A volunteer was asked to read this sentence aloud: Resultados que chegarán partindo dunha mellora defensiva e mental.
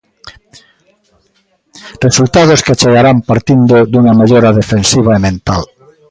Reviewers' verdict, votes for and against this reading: rejected, 1, 2